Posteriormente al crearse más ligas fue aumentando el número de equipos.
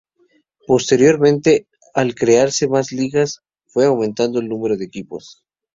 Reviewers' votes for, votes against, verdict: 2, 0, accepted